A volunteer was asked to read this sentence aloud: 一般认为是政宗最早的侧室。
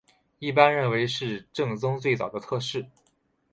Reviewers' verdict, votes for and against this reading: accepted, 4, 0